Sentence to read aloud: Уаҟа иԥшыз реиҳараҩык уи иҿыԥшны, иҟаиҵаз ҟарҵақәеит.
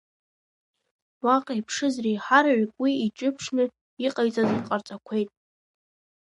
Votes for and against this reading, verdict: 1, 2, rejected